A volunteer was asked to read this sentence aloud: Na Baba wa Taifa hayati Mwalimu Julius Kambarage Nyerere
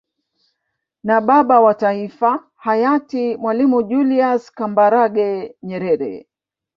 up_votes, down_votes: 1, 2